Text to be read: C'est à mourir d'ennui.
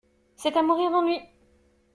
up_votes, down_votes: 1, 2